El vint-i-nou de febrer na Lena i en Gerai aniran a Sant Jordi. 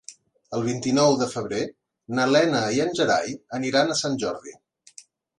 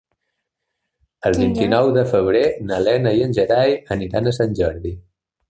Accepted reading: first